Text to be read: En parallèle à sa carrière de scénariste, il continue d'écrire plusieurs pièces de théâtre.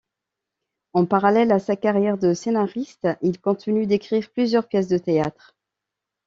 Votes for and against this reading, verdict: 2, 0, accepted